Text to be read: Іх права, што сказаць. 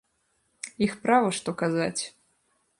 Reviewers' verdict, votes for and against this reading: rejected, 0, 2